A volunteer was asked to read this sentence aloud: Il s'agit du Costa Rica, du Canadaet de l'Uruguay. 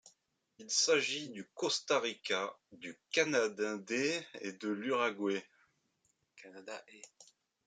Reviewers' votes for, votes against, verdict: 1, 2, rejected